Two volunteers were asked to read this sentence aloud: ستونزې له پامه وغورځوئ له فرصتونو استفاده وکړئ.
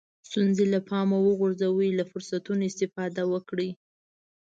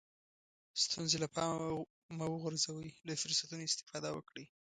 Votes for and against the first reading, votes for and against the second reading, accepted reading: 2, 0, 0, 2, first